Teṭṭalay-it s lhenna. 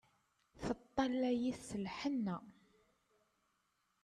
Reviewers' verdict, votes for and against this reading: accepted, 2, 1